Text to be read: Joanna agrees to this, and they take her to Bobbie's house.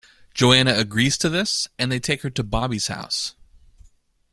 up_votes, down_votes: 2, 0